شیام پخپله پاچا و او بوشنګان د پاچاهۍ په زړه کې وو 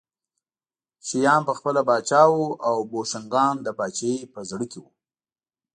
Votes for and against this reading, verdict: 2, 0, accepted